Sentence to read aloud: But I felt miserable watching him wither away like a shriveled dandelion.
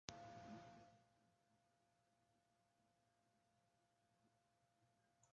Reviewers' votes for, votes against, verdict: 0, 3, rejected